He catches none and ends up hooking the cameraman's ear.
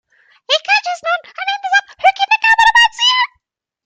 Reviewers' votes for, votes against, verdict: 1, 2, rejected